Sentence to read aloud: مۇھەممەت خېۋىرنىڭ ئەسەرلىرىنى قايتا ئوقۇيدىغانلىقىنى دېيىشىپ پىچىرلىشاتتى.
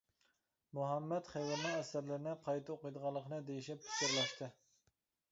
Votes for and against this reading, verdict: 0, 2, rejected